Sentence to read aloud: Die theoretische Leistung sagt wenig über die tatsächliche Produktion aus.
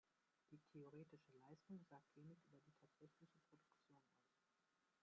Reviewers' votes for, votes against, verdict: 0, 2, rejected